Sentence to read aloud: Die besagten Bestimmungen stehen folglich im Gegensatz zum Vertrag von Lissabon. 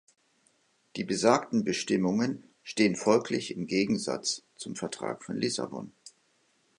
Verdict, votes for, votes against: accepted, 2, 0